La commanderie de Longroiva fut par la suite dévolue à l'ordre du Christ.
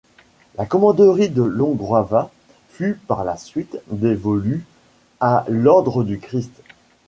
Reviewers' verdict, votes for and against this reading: rejected, 1, 2